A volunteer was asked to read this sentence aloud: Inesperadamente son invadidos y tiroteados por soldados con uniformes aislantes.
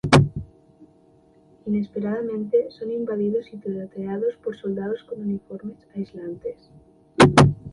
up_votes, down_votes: 2, 0